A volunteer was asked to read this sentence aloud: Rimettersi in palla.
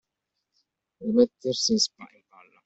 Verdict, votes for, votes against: rejected, 0, 2